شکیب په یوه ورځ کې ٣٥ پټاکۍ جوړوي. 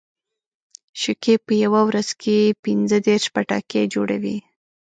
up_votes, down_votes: 0, 2